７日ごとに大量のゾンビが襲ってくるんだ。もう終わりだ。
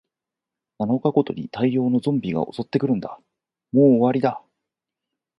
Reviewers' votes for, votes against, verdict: 0, 2, rejected